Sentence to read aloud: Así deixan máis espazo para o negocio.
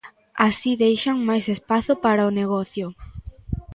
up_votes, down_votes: 2, 0